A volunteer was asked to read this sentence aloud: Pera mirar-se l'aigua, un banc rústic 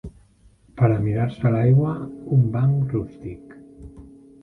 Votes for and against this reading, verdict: 2, 3, rejected